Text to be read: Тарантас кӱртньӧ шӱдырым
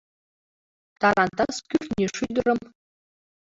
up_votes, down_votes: 2, 0